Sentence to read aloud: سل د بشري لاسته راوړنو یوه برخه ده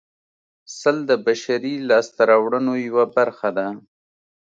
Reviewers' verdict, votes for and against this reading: accepted, 2, 0